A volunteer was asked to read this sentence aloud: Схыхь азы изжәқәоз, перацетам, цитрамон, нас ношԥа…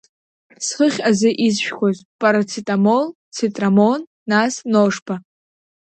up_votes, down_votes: 2, 1